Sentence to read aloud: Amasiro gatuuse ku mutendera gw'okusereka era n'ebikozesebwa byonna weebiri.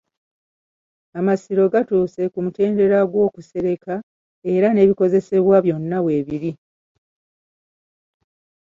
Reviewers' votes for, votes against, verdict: 2, 1, accepted